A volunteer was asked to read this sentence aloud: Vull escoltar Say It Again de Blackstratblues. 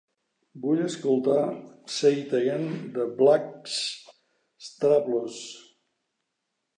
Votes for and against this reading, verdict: 0, 2, rejected